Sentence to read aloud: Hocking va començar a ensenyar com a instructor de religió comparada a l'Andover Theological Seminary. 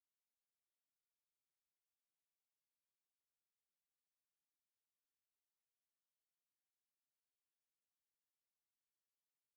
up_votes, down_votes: 0, 3